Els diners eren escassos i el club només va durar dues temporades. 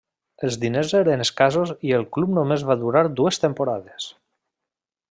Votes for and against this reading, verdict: 0, 2, rejected